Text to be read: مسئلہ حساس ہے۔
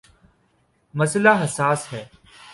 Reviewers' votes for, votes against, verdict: 2, 0, accepted